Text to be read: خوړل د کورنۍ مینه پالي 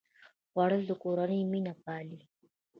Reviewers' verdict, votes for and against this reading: accepted, 2, 1